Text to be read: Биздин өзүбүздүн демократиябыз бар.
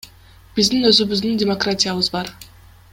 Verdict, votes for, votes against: accepted, 2, 0